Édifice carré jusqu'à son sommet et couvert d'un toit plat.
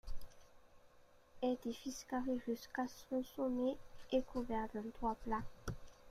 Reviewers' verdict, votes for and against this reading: accepted, 2, 1